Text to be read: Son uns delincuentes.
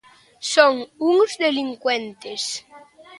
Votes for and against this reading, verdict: 2, 0, accepted